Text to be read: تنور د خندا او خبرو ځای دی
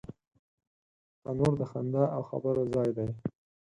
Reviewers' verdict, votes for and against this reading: accepted, 4, 0